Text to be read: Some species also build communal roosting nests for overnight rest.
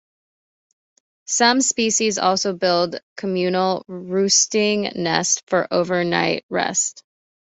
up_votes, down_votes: 2, 0